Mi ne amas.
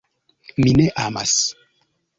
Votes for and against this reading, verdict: 2, 0, accepted